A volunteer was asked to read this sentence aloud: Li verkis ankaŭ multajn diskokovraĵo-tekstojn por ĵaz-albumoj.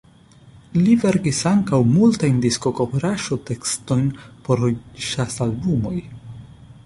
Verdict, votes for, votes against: accepted, 2, 0